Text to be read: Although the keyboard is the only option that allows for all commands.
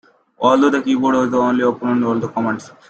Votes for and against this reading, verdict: 1, 2, rejected